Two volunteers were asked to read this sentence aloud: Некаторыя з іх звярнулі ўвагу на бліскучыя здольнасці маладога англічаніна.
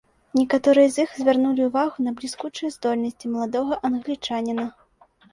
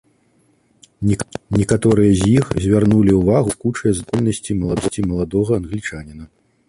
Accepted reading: first